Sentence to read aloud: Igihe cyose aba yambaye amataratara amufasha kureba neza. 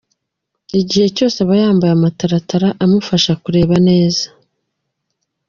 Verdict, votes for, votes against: accepted, 2, 0